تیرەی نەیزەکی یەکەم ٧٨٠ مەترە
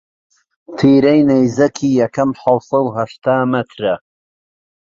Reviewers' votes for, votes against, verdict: 0, 2, rejected